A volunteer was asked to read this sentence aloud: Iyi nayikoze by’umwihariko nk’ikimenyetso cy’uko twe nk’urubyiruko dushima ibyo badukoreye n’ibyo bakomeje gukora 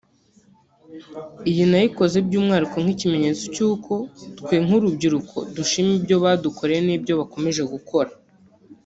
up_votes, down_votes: 1, 2